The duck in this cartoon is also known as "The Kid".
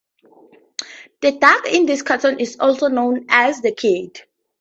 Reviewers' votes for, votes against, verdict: 4, 0, accepted